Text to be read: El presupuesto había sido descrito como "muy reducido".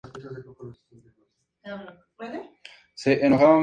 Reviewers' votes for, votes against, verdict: 2, 0, accepted